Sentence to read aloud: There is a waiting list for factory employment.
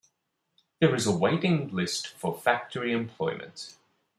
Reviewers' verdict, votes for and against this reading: accepted, 2, 0